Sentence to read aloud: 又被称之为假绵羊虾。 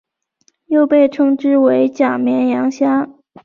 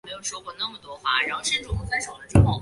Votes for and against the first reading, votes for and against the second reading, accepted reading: 3, 0, 0, 3, first